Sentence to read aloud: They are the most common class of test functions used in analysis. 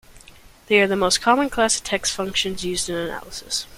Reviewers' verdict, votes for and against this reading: rejected, 1, 2